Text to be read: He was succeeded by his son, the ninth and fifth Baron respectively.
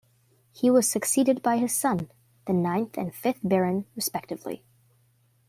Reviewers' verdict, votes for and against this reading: accepted, 2, 0